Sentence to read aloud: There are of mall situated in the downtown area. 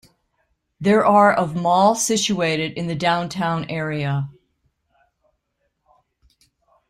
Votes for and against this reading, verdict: 0, 2, rejected